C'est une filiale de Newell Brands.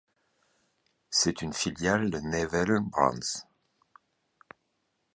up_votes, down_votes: 1, 2